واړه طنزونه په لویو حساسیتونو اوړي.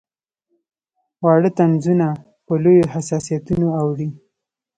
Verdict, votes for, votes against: accepted, 3, 0